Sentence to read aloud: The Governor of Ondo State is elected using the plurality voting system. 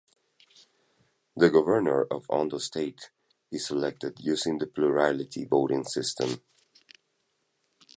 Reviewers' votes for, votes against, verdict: 1, 2, rejected